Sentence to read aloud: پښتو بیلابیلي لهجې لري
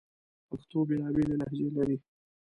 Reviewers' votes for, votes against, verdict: 2, 0, accepted